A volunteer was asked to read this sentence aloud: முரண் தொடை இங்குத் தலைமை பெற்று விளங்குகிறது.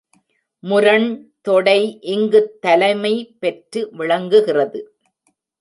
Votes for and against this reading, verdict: 2, 0, accepted